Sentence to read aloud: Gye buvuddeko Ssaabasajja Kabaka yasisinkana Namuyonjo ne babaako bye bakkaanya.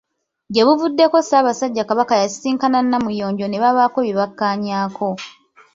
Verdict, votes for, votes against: rejected, 0, 2